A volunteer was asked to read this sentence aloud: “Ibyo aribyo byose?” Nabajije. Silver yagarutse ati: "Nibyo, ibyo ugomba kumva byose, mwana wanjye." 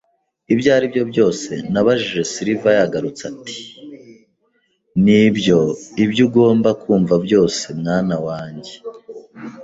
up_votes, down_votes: 2, 0